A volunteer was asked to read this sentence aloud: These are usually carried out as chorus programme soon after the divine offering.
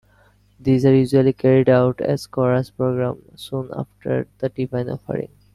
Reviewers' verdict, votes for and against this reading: rejected, 1, 2